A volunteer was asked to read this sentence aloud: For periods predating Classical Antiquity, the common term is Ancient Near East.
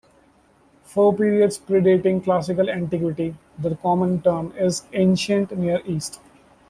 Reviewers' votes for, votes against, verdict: 1, 2, rejected